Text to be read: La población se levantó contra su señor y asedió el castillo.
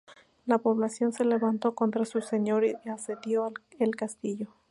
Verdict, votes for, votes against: rejected, 0, 2